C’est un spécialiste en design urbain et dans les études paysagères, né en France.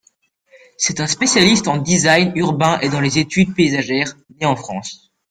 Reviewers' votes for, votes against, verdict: 2, 1, accepted